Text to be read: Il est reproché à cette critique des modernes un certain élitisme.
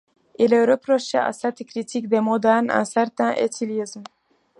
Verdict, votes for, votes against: rejected, 0, 2